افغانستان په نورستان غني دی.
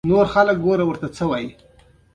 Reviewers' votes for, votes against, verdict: 2, 0, accepted